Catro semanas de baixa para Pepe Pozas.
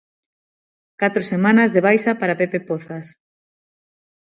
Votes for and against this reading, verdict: 6, 0, accepted